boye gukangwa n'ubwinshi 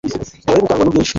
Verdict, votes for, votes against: rejected, 1, 2